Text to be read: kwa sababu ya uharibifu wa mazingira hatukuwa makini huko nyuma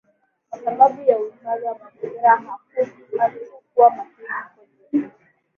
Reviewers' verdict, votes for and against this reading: rejected, 1, 2